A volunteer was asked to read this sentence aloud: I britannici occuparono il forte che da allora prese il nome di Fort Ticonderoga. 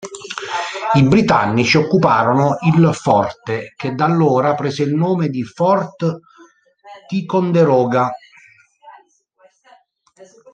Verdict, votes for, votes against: rejected, 0, 2